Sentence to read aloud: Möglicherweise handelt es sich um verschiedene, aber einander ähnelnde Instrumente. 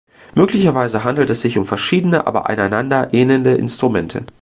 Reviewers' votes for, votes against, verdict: 0, 2, rejected